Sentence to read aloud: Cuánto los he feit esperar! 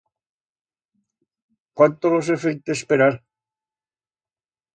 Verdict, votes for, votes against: rejected, 1, 2